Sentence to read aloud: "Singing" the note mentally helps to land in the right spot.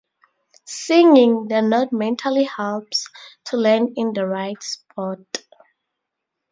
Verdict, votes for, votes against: accepted, 2, 0